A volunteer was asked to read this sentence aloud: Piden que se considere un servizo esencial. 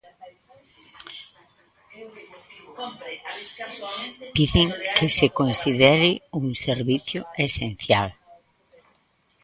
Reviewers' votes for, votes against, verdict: 0, 2, rejected